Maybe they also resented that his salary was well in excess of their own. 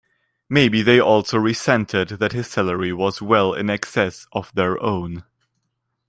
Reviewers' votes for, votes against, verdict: 2, 0, accepted